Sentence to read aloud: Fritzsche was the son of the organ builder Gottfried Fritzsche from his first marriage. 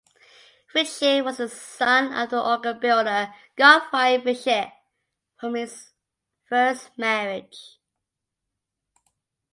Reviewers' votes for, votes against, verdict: 3, 2, accepted